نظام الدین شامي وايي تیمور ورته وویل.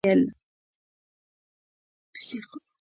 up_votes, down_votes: 0, 2